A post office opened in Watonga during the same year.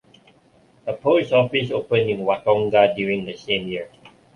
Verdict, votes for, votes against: accepted, 2, 1